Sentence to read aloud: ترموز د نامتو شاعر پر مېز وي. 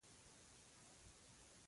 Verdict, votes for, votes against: rejected, 0, 2